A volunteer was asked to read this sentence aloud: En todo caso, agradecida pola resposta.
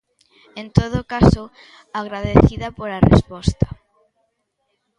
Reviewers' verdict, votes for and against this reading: accepted, 2, 0